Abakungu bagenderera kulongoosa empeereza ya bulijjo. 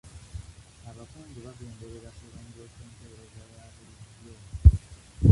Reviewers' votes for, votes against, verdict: 1, 2, rejected